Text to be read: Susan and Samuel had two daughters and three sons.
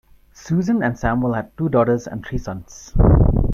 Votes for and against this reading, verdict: 2, 1, accepted